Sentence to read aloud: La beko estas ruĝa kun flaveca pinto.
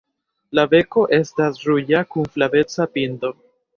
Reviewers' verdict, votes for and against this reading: rejected, 0, 2